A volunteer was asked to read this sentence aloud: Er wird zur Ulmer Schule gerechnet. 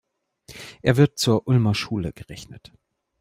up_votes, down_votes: 2, 0